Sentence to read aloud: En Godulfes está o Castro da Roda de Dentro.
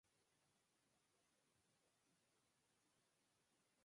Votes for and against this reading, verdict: 2, 6, rejected